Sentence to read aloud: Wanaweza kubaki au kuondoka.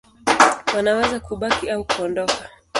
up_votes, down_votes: 1, 2